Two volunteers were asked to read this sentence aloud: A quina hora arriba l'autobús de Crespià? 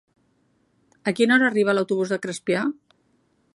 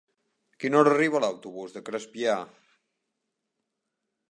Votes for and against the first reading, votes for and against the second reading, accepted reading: 2, 0, 1, 2, first